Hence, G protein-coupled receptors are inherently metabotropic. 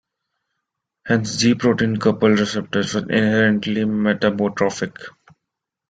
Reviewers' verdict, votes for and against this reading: rejected, 0, 2